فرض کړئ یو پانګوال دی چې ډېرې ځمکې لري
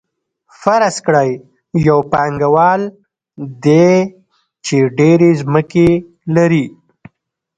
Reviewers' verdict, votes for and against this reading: rejected, 1, 2